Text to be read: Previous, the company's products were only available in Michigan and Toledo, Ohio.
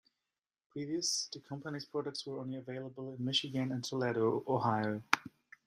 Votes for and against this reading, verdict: 2, 1, accepted